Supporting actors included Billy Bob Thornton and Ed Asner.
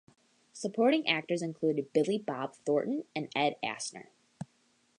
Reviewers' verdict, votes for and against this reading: accepted, 2, 0